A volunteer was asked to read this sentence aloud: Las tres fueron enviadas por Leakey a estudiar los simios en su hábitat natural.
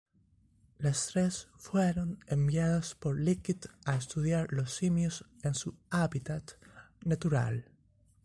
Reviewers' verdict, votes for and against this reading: accepted, 2, 1